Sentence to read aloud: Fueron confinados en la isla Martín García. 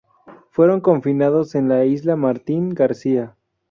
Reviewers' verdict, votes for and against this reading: accepted, 2, 0